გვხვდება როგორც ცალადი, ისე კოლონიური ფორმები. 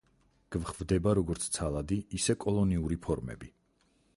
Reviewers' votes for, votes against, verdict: 2, 2, rejected